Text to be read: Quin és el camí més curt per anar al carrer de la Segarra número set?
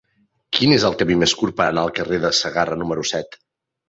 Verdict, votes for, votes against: rejected, 0, 2